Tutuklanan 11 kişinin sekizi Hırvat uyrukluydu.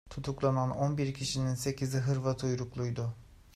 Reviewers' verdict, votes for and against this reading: rejected, 0, 2